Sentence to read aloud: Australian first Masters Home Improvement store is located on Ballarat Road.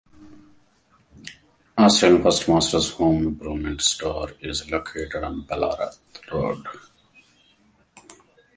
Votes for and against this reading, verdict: 1, 2, rejected